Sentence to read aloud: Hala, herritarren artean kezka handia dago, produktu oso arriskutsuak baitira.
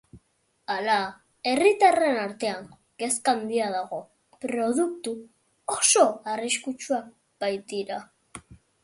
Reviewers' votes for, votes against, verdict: 3, 0, accepted